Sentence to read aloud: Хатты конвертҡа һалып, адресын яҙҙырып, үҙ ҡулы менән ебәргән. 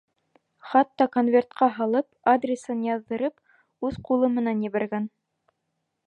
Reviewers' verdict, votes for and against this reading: rejected, 0, 2